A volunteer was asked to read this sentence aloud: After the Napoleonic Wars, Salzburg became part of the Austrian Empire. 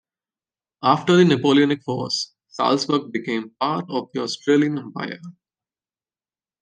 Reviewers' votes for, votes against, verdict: 0, 2, rejected